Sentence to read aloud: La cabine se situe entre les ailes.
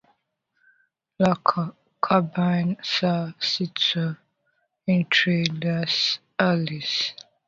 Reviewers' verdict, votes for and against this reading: rejected, 0, 2